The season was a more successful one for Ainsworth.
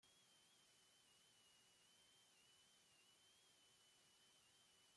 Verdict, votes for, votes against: rejected, 0, 2